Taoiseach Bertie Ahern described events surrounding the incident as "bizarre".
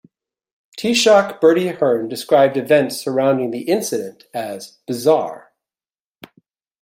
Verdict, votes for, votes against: accepted, 2, 0